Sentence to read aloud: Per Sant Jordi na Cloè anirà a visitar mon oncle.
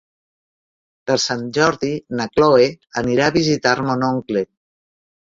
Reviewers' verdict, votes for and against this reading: rejected, 1, 2